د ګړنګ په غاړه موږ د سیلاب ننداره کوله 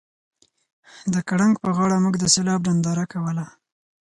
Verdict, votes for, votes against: rejected, 2, 4